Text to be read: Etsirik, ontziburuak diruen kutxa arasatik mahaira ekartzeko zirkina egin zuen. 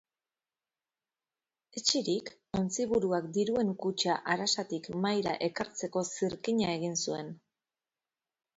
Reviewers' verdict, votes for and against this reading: accepted, 2, 0